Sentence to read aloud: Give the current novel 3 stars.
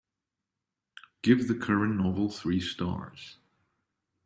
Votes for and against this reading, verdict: 0, 2, rejected